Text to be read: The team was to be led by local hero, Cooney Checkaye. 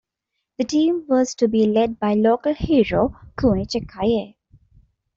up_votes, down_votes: 1, 2